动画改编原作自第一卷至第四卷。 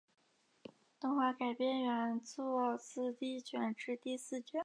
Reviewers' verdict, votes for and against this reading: accepted, 5, 0